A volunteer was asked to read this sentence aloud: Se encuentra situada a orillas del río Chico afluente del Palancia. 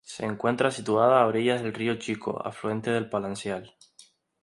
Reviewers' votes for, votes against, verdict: 0, 4, rejected